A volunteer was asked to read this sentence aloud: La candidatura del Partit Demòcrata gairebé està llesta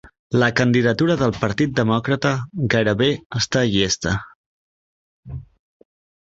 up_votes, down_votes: 3, 0